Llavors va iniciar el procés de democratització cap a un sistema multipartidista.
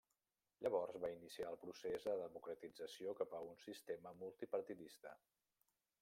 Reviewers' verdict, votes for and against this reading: rejected, 0, 2